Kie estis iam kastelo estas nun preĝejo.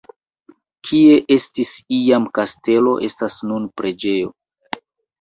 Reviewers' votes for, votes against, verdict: 1, 2, rejected